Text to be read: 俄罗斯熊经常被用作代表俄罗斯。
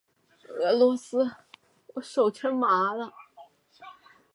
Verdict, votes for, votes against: rejected, 0, 2